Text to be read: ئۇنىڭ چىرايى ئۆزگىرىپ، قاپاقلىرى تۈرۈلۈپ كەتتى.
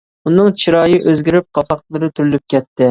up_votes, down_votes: 2, 0